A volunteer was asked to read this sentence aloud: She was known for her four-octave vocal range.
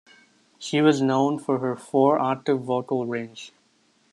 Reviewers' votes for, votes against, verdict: 2, 0, accepted